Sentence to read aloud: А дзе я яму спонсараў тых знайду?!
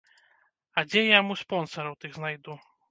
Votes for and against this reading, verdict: 1, 2, rejected